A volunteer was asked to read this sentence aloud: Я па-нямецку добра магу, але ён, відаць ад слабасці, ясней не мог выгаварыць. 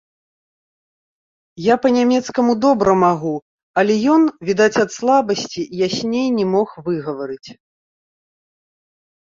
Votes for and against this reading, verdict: 1, 2, rejected